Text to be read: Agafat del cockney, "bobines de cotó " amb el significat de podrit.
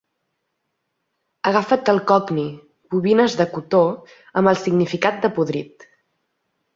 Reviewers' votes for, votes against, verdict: 3, 0, accepted